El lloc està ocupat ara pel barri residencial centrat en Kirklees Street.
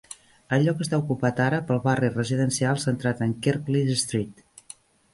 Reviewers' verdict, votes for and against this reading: accepted, 2, 1